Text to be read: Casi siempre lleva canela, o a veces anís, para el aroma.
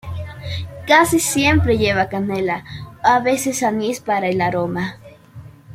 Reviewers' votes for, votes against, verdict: 3, 0, accepted